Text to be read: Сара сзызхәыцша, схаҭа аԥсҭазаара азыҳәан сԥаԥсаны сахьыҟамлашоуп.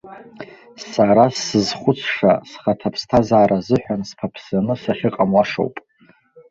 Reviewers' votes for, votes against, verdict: 1, 2, rejected